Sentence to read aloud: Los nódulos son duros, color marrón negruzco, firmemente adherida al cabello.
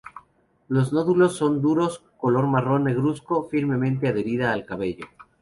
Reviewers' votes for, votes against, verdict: 2, 0, accepted